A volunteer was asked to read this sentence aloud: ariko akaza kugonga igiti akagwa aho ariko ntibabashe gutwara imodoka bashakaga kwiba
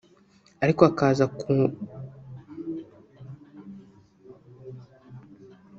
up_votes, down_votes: 0, 2